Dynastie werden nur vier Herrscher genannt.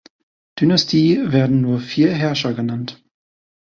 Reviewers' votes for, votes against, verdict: 2, 0, accepted